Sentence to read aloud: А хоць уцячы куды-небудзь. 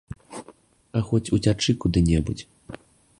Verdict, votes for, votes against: accepted, 2, 0